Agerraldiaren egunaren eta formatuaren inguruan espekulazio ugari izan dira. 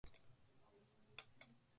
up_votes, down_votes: 0, 2